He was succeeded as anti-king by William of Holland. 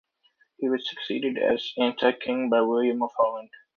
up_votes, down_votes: 2, 0